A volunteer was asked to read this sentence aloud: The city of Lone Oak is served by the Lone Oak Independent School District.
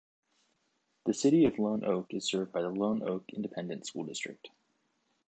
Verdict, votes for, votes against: accepted, 2, 0